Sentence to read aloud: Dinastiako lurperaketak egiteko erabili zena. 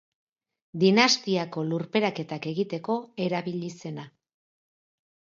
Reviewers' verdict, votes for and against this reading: accepted, 2, 0